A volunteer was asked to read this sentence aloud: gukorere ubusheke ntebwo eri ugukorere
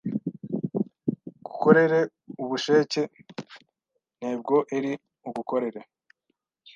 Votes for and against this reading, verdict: 1, 2, rejected